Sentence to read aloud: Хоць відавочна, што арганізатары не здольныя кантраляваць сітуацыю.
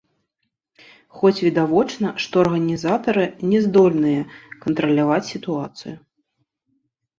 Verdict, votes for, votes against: rejected, 0, 3